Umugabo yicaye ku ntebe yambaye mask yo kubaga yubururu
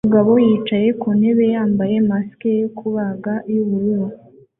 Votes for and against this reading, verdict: 2, 0, accepted